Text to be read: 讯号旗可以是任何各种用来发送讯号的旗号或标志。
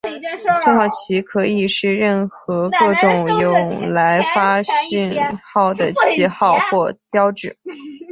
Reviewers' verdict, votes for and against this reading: rejected, 1, 2